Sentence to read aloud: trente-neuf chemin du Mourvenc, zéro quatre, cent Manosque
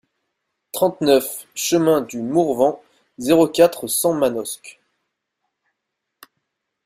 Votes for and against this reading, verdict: 2, 0, accepted